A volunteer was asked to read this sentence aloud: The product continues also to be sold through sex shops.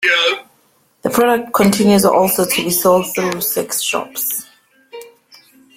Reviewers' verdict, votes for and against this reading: rejected, 1, 2